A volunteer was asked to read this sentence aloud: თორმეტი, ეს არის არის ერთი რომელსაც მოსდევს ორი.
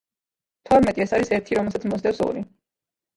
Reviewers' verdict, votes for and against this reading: rejected, 1, 2